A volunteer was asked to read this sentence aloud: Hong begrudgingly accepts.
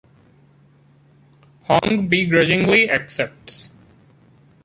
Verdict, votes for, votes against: accepted, 2, 1